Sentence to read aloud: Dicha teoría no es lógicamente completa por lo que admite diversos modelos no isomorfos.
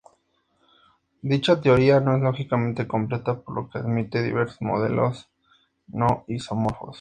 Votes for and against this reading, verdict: 4, 0, accepted